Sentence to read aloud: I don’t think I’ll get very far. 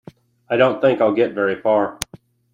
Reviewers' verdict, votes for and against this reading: accepted, 2, 0